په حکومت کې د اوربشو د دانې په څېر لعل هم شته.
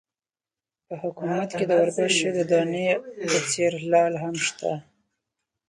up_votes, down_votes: 2, 4